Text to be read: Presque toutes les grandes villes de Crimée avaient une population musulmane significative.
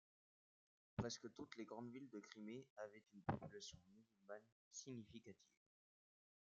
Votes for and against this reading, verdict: 2, 1, accepted